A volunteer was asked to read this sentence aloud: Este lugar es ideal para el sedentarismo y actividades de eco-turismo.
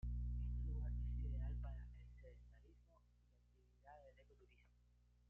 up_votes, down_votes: 1, 2